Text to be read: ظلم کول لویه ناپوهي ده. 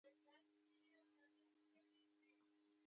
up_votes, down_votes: 0, 2